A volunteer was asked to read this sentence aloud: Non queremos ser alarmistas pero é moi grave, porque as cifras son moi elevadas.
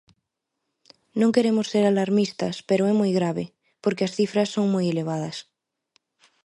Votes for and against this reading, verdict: 2, 0, accepted